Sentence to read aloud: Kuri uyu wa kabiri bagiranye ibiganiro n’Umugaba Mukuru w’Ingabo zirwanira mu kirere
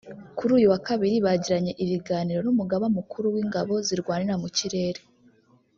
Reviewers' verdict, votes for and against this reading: rejected, 1, 2